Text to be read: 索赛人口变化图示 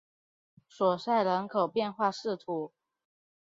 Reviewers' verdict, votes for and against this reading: rejected, 0, 2